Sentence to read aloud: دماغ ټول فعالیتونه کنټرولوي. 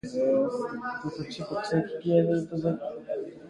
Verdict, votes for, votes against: accepted, 2, 0